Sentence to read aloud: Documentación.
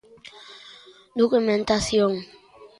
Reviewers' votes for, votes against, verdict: 2, 0, accepted